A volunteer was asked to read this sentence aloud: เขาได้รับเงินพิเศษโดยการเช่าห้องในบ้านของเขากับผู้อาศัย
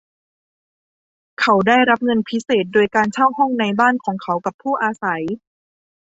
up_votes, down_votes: 2, 0